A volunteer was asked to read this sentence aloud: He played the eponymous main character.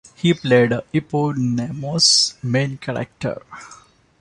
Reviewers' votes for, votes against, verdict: 1, 2, rejected